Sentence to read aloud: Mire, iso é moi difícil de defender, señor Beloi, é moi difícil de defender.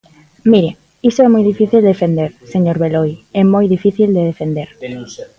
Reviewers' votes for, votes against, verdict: 1, 2, rejected